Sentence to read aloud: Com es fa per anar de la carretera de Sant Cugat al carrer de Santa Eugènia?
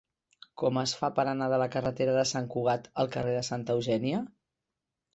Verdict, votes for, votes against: accepted, 3, 0